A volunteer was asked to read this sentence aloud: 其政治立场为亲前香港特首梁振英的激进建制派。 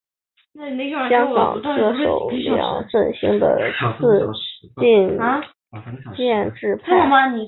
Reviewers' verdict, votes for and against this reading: rejected, 0, 2